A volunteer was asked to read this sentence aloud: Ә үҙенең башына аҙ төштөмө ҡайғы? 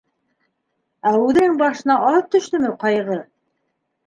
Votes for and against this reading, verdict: 2, 1, accepted